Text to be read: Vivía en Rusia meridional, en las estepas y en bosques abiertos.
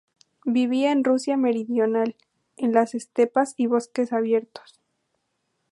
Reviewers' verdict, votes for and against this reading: rejected, 2, 2